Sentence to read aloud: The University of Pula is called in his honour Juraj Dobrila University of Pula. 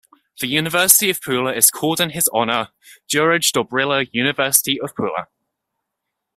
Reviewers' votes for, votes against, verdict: 2, 0, accepted